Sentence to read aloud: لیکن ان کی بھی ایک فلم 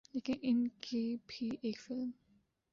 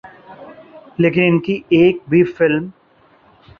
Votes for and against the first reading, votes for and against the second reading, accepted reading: 2, 0, 1, 2, first